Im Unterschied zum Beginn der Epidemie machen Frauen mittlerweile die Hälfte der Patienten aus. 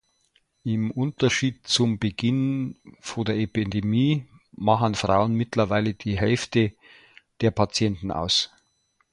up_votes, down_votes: 0, 2